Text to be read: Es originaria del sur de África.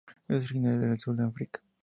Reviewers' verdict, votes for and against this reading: rejected, 0, 2